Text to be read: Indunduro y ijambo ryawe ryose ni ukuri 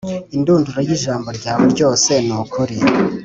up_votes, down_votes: 2, 0